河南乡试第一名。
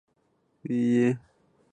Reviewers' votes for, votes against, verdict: 1, 4, rejected